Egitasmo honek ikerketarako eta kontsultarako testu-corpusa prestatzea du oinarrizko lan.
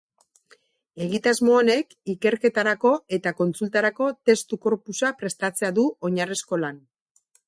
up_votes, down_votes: 2, 0